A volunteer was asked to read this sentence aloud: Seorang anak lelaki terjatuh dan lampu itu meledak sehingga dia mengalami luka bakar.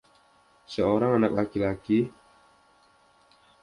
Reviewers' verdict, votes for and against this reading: rejected, 0, 2